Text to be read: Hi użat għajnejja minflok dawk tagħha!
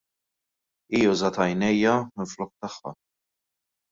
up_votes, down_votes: 0, 2